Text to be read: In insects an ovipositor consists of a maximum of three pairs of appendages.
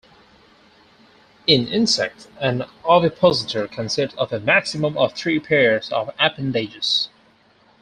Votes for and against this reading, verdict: 2, 4, rejected